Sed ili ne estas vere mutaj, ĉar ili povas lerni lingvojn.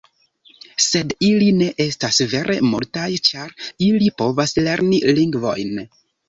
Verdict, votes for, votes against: rejected, 0, 2